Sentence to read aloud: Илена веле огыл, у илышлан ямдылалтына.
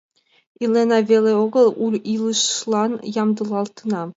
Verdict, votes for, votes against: accepted, 2, 1